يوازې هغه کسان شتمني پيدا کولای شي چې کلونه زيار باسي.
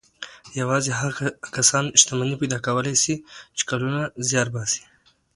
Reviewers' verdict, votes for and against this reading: rejected, 0, 2